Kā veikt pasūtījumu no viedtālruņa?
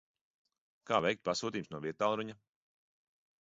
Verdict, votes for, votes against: rejected, 0, 2